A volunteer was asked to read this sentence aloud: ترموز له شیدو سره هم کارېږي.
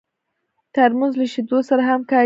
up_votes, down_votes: 1, 2